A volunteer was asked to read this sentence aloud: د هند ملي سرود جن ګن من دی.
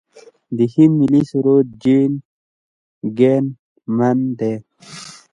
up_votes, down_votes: 2, 0